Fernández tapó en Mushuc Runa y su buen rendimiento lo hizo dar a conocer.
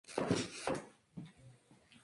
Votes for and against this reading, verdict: 0, 2, rejected